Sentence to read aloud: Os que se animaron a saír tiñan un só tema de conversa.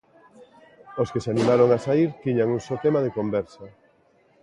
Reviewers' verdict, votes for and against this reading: accepted, 2, 0